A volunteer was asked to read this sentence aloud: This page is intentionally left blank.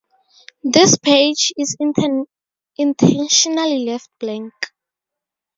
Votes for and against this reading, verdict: 2, 2, rejected